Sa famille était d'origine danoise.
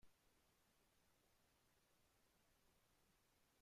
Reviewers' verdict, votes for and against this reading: rejected, 0, 2